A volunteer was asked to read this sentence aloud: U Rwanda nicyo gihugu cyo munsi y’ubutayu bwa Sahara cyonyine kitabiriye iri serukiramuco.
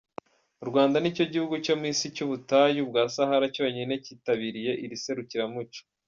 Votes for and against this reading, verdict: 1, 2, rejected